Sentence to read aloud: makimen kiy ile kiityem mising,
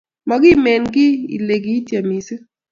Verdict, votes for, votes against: accepted, 2, 0